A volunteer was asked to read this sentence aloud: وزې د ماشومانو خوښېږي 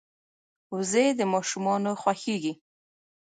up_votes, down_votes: 1, 2